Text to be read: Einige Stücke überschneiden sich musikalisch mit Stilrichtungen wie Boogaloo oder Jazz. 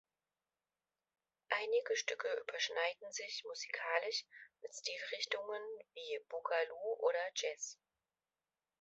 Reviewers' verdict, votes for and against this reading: accepted, 2, 0